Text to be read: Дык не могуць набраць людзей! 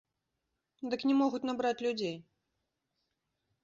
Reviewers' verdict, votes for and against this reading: accepted, 2, 0